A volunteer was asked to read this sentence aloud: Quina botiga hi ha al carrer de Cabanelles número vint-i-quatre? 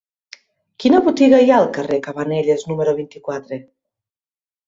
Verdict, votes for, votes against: rejected, 1, 2